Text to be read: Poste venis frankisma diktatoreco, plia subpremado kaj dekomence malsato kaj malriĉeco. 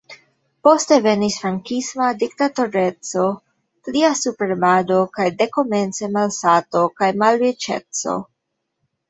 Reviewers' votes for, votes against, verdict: 1, 2, rejected